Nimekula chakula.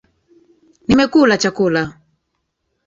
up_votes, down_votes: 0, 2